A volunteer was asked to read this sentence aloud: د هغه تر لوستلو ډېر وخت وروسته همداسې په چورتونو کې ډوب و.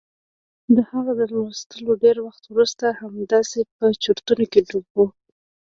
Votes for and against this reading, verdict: 1, 2, rejected